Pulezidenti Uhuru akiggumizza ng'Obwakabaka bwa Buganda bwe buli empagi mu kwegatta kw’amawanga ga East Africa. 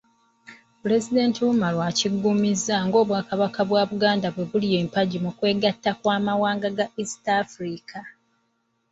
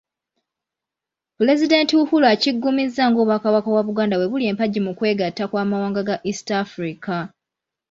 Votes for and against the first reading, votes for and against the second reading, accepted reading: 1, 2, 2, 0, second